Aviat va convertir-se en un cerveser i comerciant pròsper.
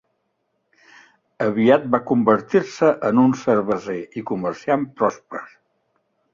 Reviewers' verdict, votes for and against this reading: accepted, 3, 1